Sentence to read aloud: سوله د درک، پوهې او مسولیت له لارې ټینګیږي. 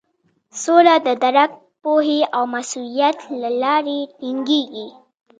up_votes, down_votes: 3, 1